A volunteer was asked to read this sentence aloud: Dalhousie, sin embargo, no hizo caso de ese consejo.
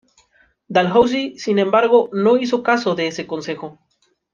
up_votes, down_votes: 2, 0